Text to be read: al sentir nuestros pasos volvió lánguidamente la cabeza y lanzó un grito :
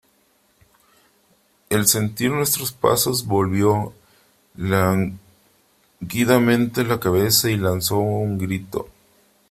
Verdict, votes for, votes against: rejected, 0, 3